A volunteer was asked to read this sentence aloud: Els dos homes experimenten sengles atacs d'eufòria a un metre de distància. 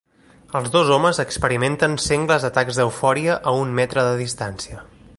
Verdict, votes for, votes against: accepted, 2, 0